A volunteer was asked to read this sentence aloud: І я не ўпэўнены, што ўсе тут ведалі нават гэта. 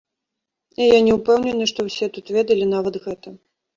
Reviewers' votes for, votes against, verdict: 2, 0, accepted